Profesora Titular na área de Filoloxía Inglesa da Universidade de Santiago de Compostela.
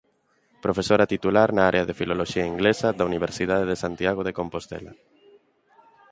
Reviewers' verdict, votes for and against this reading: accepted, 2, 0